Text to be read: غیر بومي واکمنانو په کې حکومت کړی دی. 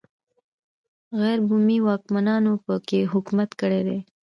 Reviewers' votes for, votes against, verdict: 2, 0, accepted